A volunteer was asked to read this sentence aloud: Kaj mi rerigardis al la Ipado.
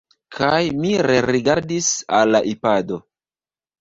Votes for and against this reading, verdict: 1, 2, rejected